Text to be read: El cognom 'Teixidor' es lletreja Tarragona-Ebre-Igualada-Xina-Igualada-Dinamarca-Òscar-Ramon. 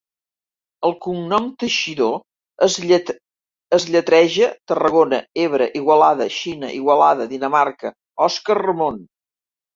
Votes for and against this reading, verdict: 0, 2, rejected